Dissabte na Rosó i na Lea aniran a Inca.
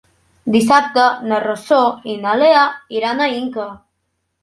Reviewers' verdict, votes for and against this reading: rejected, 1, 2